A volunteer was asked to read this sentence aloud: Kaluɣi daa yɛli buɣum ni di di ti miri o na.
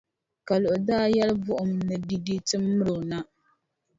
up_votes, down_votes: 2, 0